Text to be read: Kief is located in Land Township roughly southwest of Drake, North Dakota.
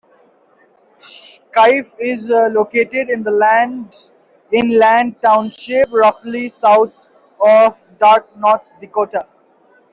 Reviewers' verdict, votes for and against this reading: rejected, 0, 2